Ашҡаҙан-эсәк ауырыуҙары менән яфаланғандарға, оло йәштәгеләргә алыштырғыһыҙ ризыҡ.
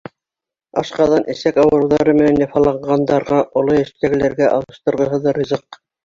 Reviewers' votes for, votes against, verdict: 2, 0, accepted